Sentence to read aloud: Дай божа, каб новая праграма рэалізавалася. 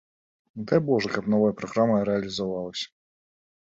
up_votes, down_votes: 2, 0